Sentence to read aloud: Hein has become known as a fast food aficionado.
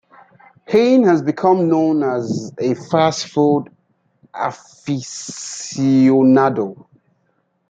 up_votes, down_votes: 2, 0